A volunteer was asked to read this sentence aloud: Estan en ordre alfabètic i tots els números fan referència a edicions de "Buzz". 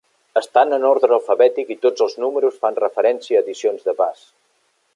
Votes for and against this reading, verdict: 2, 0, accepted